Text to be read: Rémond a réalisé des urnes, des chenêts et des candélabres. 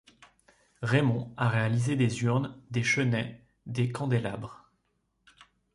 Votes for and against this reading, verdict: 2, 3, rejected